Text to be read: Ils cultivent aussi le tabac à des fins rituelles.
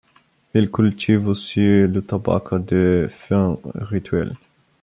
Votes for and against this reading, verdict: 0, 2, rejected